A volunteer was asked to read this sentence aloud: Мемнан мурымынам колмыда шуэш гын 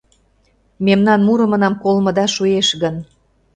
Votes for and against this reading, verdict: 2, 0, accepted